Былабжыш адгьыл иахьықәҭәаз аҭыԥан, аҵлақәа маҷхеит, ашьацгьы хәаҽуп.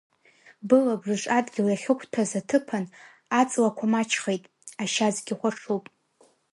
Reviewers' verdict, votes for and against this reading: rejected, 1, 2